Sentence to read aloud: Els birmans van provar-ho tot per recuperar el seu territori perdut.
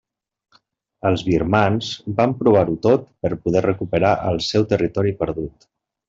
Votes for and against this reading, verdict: 0, 2, rejected